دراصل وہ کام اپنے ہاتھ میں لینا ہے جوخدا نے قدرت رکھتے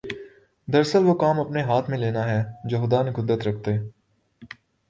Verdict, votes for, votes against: accepted, 2, 0